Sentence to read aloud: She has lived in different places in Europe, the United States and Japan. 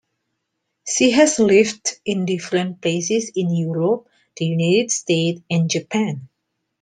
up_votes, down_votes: 2, 0